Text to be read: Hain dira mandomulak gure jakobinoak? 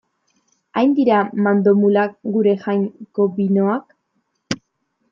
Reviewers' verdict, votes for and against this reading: rejected, 0, 2